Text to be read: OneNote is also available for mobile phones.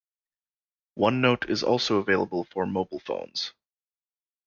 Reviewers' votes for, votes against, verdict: 2, 0, accepted